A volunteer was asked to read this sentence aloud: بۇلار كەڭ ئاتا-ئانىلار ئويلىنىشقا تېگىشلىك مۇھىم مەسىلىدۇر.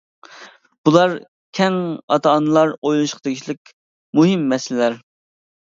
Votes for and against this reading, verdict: 0, 2, rejected